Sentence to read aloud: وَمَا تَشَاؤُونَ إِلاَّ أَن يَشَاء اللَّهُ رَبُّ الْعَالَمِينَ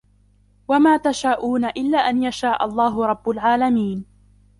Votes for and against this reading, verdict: 1, 2, rejected